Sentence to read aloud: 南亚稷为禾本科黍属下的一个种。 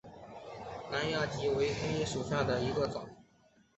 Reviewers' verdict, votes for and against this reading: accepted, 4, 0